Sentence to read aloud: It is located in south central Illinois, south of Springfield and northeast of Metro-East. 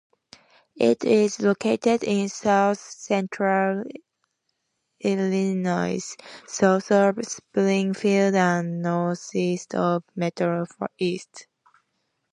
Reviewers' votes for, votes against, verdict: 2, 1, accepted